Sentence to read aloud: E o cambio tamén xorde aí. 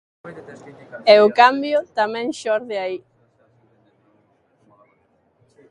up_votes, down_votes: 1, 2